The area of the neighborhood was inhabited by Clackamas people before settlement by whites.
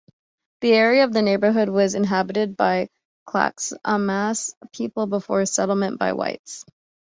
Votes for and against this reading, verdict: 2, 0, accepted